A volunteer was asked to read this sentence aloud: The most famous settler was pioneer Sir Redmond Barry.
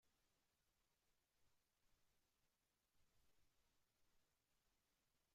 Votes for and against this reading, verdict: 0, 2, rejected